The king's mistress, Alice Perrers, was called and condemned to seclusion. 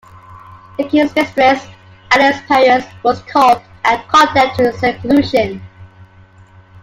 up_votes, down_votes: 2, 0